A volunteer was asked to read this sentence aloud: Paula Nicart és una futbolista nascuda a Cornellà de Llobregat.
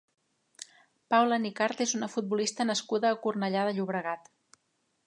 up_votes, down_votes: 3, 0